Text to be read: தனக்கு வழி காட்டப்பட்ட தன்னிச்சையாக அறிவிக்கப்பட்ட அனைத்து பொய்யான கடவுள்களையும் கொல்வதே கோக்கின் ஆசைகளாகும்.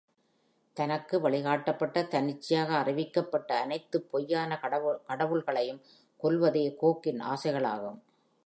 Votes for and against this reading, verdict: 1, 2, rejected